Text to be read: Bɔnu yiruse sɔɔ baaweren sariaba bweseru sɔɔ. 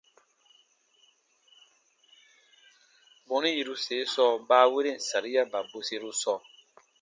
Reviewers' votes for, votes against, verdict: 2, 0, accepted